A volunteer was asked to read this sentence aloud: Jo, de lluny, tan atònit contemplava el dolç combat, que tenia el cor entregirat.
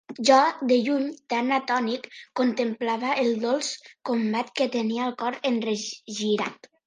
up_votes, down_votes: 0, 2